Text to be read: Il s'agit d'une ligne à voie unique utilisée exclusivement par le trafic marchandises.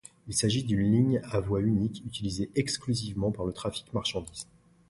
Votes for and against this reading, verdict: 2, 0, accepted